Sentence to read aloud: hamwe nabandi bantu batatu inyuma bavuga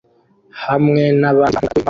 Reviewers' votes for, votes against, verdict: 0, 2, rejected